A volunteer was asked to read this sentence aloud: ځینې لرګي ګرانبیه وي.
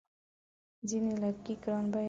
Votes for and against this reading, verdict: 0, 2, rejected